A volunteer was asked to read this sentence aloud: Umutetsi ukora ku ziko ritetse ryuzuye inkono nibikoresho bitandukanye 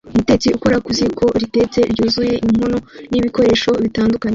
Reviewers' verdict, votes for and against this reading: rejected, 0, 3